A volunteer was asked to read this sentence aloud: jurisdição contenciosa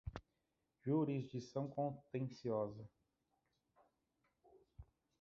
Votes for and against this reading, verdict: 0, 2, rejected